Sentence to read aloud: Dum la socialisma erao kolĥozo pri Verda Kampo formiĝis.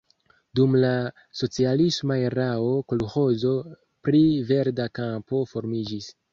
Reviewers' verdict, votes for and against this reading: accepted, 2, 0